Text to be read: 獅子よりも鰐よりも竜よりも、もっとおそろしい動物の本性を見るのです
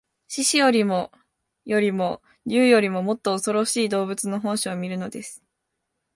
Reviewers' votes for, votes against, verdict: 2, 0, accepted